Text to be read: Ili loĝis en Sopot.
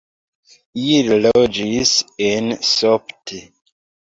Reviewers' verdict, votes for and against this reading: rejected, 0, 2